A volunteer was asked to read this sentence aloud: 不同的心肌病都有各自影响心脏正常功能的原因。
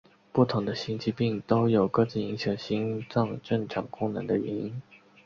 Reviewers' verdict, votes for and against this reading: accepted, 6, 0